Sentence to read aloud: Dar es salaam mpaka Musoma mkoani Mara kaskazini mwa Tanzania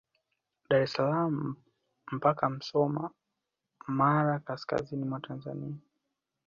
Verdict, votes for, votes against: accepted, 2, 0